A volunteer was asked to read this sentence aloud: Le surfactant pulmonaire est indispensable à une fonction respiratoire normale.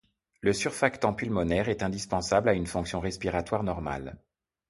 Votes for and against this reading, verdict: 2, 0, accepted